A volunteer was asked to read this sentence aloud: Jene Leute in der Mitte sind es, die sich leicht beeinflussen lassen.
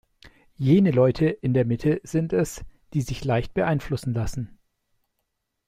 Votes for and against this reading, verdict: 2, 0, accepted